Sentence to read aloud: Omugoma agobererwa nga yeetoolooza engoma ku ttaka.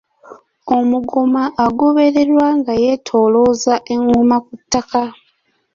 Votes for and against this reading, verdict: 2, 0, accepted